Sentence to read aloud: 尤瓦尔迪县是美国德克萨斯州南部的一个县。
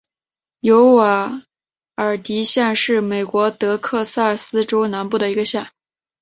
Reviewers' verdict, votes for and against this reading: accepted, 6, 0